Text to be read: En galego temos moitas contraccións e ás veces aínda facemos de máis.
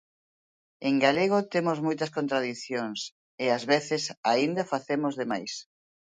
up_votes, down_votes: 0, 2